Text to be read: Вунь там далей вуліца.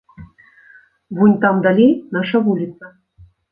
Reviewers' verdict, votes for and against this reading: rejected, 0, 2